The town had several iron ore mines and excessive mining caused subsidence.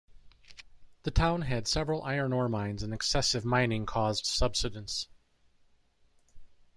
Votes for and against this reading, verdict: 2, 0, accepted